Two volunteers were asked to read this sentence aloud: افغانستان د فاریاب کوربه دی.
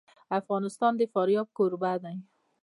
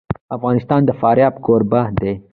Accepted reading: first